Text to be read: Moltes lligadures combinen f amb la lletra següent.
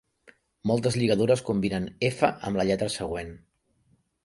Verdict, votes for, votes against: accepted, 2, 0